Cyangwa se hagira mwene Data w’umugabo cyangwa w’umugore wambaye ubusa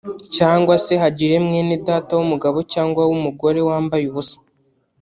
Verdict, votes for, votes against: rejected, 1, 2